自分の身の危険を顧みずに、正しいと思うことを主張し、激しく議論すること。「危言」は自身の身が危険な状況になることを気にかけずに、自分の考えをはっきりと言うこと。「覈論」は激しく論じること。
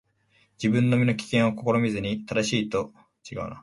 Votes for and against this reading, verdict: 2, 0, accepted